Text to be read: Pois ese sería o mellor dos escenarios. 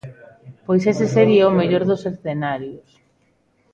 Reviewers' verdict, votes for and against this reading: accepted, 2, 0